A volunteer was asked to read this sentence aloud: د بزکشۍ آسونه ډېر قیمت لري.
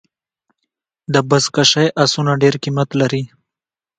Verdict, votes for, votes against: accepted, 2, 1